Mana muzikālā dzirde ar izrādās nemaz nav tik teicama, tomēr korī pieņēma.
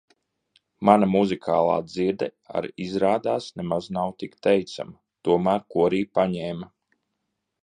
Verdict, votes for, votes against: rejected, 0, 2